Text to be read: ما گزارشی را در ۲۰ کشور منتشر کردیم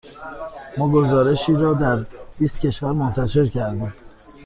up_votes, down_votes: 0, 2